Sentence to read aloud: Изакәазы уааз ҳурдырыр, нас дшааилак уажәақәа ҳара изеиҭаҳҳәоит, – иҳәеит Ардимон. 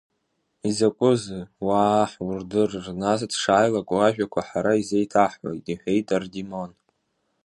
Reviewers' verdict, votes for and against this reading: rejected, 0, 2